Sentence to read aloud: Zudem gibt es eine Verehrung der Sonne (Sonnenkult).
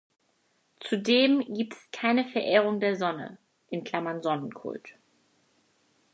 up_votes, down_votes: 0, 4